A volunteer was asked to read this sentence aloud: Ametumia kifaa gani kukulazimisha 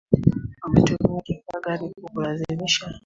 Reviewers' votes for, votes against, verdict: 2, 0, accepted